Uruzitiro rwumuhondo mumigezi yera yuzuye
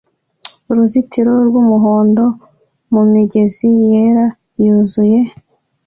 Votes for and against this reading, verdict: 2, 0, accepted